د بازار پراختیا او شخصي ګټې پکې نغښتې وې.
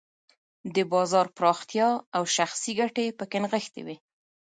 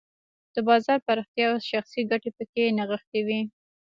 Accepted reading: first